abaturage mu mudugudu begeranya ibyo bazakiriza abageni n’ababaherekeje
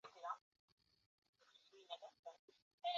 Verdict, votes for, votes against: rejected, 0, 2